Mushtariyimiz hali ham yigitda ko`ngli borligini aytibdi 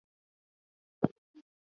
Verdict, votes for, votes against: rejected, 1, 2